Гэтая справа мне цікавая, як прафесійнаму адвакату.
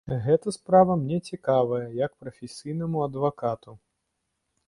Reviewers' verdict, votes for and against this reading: rejected, 0, 2